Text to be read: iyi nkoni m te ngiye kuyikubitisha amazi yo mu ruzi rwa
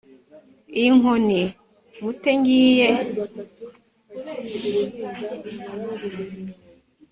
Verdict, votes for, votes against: rejected, 0, 3